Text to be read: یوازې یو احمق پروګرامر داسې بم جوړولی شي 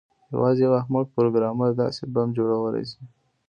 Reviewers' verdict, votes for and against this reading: rejected, 1, 2